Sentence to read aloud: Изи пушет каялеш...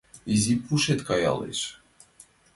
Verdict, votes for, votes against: accepted, 2, 0